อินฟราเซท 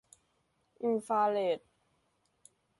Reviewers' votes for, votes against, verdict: 0, 2, rejected